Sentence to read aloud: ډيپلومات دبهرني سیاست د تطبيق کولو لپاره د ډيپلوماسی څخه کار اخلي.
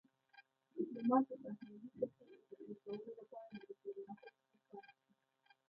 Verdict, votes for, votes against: accepted, 2, 0